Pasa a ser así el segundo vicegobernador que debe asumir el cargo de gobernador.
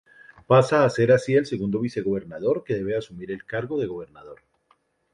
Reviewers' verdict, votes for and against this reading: rejected, 0, 2